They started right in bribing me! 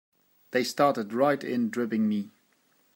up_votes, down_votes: 1, 2